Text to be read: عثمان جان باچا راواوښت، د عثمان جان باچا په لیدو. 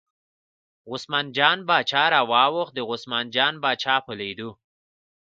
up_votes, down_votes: 2, 0